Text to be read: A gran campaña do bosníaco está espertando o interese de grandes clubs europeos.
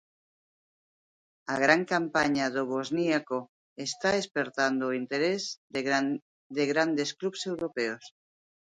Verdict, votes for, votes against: rejected, 0, 2